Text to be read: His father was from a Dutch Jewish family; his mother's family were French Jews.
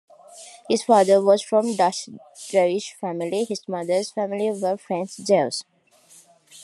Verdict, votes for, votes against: rejected, 1, 2